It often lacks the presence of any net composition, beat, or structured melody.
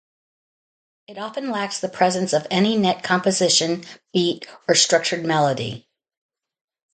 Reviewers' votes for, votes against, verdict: 2, 0, accepted